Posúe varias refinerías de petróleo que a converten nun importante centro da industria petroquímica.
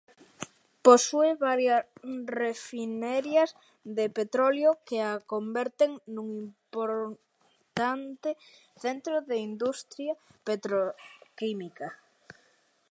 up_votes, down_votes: 0, 2